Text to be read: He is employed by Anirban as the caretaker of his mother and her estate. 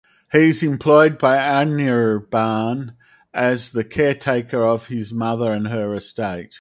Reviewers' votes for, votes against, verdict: 4, 2, accepted